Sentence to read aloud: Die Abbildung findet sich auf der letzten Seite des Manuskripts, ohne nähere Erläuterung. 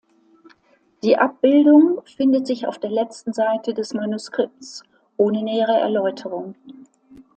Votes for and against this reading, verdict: 2, 0, accepted